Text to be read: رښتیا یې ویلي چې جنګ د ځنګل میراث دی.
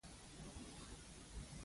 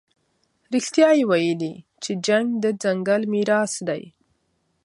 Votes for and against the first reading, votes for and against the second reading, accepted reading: 0, 2, 2, 0, second